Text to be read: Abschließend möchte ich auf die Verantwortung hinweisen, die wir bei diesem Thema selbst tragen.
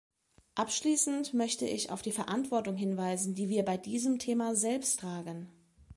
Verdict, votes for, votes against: accepted, 2, 0